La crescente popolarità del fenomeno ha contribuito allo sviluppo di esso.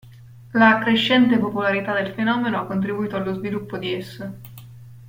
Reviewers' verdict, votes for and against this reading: accepted, 2, 0